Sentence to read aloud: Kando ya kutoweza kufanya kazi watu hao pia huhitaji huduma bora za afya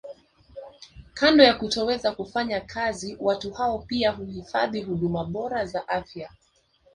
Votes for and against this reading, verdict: 2, 1, accepted